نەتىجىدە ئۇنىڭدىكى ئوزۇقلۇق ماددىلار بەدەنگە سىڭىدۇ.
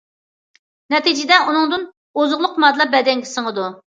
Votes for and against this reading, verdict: 0, 2, rejected